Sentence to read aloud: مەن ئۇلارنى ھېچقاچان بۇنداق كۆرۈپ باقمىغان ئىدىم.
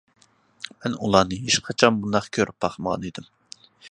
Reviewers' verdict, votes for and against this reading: accepted, 2, 0